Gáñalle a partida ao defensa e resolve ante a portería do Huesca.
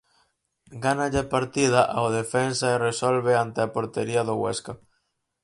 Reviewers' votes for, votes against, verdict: 0, 4, rejected